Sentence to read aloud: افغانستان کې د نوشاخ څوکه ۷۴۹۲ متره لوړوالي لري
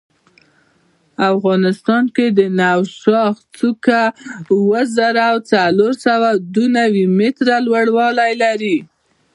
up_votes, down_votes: 0, 2